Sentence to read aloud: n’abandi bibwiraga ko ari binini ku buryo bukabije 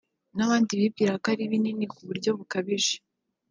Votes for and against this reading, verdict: 0, 2, rejected